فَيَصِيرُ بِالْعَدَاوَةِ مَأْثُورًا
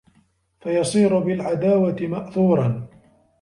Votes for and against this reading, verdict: 2, 0, accepted